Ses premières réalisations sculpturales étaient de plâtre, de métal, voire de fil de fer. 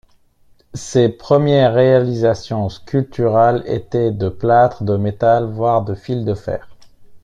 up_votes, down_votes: 2, 0